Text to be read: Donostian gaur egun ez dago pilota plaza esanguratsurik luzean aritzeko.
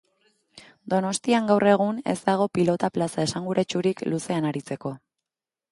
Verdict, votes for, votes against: accepted, 2, 0